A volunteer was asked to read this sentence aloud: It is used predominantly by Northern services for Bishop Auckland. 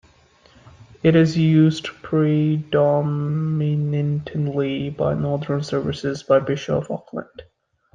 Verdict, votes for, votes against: rejected, 1, 2